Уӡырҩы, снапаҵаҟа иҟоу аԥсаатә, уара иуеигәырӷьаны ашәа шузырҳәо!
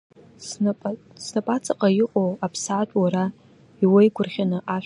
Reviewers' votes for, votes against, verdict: 0, 2, rejected